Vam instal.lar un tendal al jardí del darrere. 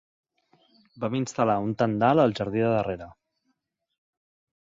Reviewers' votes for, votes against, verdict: 1, 2, rejected